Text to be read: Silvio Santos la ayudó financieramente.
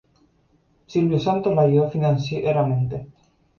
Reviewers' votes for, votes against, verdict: 2, 2, rejected